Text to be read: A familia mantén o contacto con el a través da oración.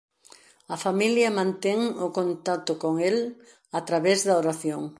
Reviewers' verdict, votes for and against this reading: accepted, 2, 0